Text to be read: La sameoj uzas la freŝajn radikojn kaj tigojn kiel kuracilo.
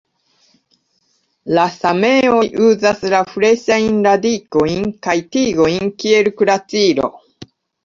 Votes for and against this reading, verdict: 1, 2, rejected